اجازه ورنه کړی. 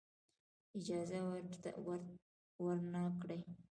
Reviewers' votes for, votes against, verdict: 1, 2, rejected